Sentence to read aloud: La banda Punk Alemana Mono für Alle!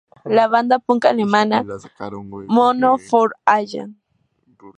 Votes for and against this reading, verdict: 2, 0, accepted